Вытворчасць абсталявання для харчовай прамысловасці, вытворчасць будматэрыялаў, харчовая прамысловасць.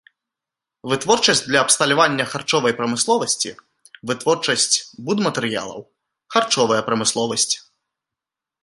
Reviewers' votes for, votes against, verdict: 0, 2, rejected